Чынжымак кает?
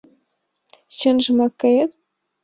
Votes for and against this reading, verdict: 2, 0, accepted